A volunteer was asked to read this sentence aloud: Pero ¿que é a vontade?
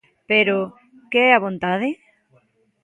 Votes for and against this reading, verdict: 2, 0, accepted